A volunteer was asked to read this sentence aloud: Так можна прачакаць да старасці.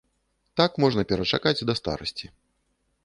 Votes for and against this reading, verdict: 0, 2, rejected